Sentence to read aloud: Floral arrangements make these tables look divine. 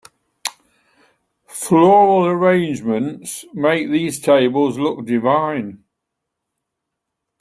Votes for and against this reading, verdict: 2, 1, accepted